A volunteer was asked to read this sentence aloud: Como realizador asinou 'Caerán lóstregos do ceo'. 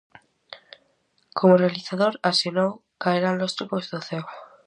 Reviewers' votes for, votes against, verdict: 2, 0, accepted